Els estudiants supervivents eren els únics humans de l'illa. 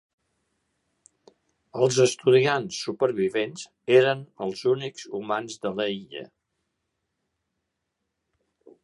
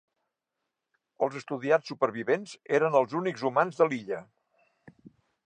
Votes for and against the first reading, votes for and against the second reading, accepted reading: 1, 2, 3, 0, second